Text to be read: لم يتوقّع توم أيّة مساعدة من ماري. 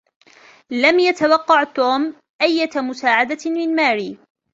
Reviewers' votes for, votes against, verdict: 2, 0, accepted